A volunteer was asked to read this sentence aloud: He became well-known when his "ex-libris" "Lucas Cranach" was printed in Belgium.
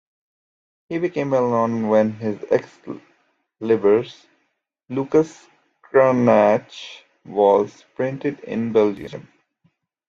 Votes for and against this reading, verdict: 1, 2, rejected